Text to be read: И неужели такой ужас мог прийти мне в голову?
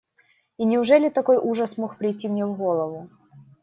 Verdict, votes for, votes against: accepted, 2, 0